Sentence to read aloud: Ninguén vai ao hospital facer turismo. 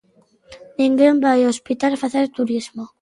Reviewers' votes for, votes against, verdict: 2, 0, accepted